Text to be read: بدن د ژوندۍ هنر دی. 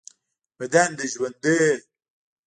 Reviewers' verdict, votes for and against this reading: rejected, 1, 2